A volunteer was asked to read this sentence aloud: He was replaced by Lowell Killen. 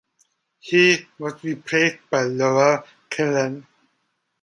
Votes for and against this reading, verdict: 1, 2, rejected